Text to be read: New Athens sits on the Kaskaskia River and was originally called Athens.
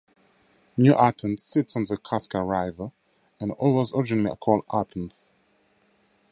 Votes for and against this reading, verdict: 0, 4, rejected